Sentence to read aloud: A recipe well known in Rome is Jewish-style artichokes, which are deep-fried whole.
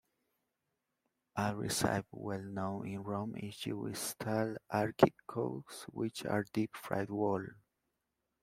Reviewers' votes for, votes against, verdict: 0, 2, rejected